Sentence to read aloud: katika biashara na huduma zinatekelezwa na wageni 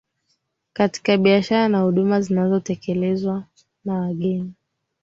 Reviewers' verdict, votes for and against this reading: accepted, 6, 3